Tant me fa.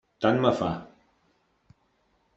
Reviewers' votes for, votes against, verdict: 3, 0, accepted